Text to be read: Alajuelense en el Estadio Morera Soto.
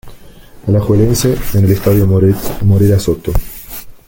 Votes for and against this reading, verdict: 1, 2, rejected